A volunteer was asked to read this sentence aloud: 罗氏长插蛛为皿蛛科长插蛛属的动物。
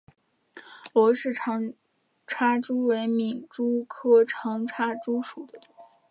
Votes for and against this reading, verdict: 1, 5, rejected